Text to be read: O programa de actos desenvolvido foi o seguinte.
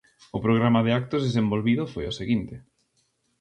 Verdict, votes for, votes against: accepted, 2, 0